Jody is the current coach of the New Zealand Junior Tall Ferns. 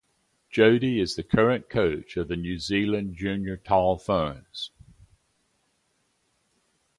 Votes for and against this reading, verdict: 2, 0, accepted